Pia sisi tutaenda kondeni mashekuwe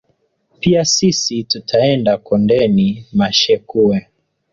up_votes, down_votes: 1, 2